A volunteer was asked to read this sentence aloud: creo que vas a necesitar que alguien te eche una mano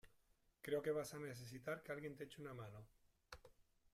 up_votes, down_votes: 2, 0